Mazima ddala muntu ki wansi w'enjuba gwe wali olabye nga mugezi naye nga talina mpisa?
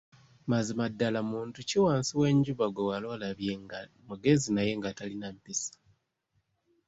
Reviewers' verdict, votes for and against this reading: accepted, 2, 0